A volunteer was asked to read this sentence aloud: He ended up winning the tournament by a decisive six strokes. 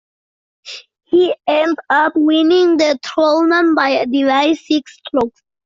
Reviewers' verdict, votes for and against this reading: rejected, 0, 2